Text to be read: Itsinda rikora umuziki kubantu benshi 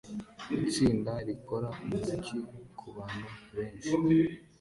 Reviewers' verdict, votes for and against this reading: accepted, 2, 1